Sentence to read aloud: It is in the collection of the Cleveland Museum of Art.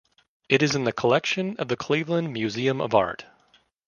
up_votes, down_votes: 3, 0